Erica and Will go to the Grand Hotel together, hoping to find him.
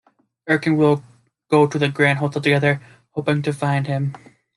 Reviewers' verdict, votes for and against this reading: rejected, 0, 2